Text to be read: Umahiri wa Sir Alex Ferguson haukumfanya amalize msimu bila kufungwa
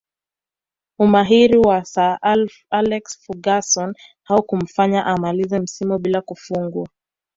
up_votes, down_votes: 1, 2